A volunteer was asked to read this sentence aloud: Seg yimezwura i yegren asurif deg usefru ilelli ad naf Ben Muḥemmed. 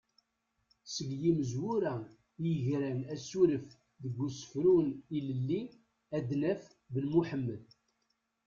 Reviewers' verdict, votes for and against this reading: rejected, 1, 2